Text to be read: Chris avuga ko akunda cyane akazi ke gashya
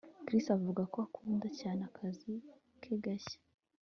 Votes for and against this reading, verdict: 2, 1, accepted